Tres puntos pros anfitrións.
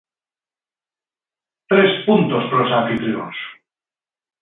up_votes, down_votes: 2, 0